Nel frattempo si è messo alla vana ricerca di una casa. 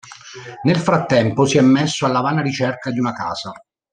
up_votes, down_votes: 1, 2